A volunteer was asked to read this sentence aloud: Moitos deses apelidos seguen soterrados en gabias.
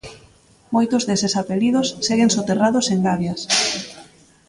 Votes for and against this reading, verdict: 2, 1, accepted